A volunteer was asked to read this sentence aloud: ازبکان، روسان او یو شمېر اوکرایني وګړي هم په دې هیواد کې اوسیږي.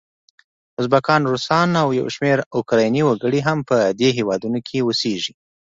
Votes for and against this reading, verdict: 2, 0, accepted